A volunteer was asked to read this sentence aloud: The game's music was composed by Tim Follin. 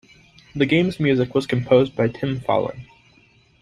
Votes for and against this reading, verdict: 2, 0, accepted